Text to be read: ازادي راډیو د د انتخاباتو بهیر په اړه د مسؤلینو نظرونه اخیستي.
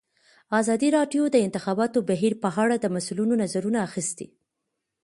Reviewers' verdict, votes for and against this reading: accepted, 2, 1